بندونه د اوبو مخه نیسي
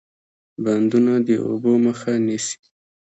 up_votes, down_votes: 1, 2